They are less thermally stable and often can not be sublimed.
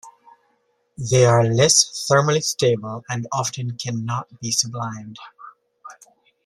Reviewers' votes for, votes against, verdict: 2, 0, accepted